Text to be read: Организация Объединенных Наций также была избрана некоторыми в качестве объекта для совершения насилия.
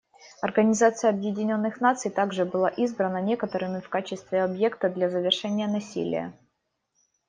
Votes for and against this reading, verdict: 0, 2, rejected